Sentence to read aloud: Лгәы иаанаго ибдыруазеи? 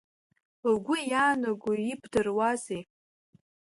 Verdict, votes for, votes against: accepted, 3, 0